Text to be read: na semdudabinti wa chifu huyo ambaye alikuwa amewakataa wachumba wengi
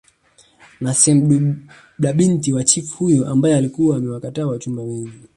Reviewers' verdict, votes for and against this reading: rejected, 1, 2